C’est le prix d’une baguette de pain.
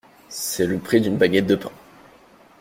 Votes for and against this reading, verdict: 2, 0, accepted